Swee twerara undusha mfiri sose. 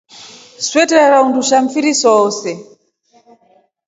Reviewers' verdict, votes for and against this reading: accepted, 2, 0